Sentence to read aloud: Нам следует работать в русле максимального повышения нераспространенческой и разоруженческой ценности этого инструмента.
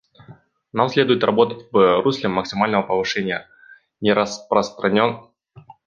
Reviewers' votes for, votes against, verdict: 1, 2, rejected